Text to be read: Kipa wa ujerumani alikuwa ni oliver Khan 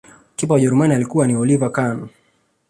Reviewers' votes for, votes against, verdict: 2, 0, accepted